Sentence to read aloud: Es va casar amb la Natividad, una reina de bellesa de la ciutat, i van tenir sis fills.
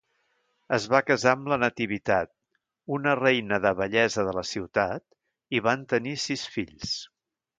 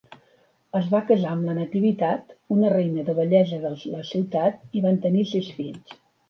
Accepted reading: second